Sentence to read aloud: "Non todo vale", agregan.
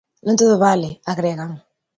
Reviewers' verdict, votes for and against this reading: accepted, 2, 0